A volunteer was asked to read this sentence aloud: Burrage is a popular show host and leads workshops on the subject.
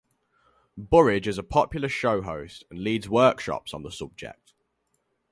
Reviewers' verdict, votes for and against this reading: rejected, 0, 2